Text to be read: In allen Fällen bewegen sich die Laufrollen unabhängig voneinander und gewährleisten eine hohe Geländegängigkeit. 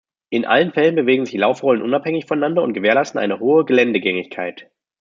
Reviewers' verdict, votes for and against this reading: rejected, 0, 2